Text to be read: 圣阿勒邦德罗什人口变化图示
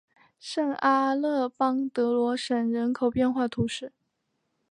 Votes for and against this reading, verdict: 2, 0, accepted